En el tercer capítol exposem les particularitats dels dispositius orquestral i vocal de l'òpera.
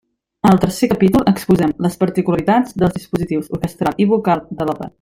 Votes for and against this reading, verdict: 1, 2, rejected